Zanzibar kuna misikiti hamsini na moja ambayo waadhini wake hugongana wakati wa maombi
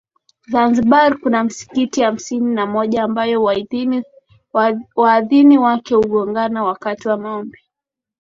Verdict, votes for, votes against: accepted, 12, 0